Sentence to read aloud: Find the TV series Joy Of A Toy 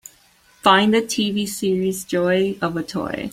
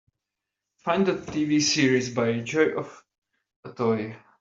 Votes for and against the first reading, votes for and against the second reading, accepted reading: 2, 0, 0, 2, first